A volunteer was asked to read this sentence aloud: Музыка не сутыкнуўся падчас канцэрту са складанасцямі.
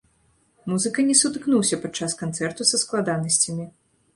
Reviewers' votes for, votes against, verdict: 2, 0, accepted